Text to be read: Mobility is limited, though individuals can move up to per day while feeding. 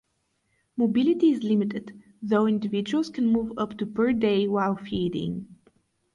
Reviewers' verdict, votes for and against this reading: rejected, 0, 2